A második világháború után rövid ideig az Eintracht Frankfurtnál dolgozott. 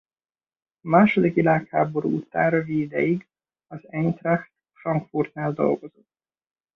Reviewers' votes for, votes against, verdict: 2, 0, accepted